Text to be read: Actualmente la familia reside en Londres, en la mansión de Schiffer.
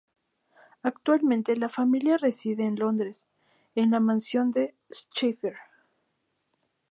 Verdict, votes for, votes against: accepted, 2, 0